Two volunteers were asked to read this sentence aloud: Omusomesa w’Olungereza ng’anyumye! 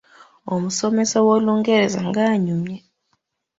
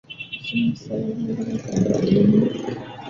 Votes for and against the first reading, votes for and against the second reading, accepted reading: 2, 1, 0, 2, first